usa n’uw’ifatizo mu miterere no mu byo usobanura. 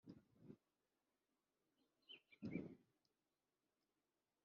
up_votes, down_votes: 2, 1